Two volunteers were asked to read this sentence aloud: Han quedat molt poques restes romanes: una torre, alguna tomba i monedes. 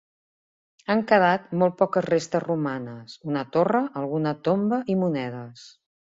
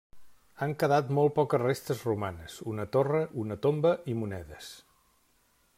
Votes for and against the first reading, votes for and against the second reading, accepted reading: 2, 0, 0, 2, first